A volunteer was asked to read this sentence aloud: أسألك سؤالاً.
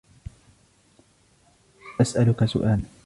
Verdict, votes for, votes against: accepted, 2, 1